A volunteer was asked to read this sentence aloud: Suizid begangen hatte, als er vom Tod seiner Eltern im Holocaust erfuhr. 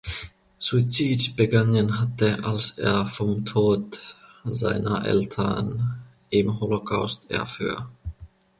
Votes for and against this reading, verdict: 0, 2, rejected